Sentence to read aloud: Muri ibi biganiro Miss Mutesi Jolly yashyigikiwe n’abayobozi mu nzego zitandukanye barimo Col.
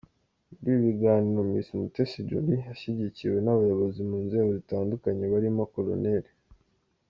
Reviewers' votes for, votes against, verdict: 2, 1, accepted